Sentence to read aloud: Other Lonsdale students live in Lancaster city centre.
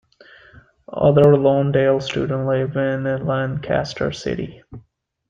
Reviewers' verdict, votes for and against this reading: rejected, 0, 2